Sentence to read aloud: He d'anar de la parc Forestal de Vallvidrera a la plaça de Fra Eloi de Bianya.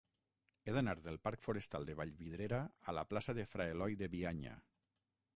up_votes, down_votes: 3, 6